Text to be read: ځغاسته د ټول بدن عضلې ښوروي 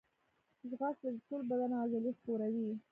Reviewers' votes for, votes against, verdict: 1, 2, rejected